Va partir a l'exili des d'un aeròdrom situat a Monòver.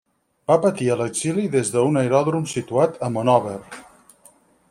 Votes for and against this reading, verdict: 0, 4, rejected